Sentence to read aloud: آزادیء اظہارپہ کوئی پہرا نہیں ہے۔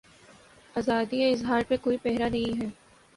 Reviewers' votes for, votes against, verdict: 2, 0, accepted